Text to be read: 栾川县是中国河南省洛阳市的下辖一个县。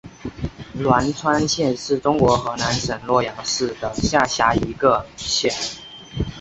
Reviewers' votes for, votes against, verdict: 8, 0, accepted